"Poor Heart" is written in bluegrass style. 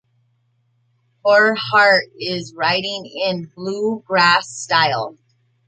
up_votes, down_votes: 0, 2